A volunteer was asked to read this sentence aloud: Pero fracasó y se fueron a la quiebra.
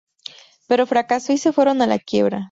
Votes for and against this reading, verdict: 2, 0, accepted